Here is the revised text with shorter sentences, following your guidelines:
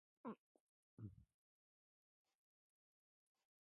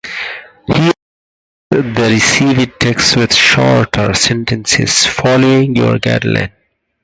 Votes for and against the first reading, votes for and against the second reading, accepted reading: 0, 2, 6, 4, second